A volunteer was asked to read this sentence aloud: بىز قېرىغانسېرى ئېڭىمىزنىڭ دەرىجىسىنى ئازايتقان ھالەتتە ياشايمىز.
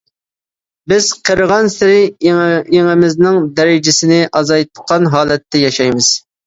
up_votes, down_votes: 0, 2